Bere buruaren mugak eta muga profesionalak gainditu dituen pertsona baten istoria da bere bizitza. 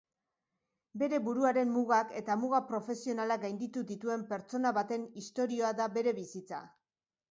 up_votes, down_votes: 2, 0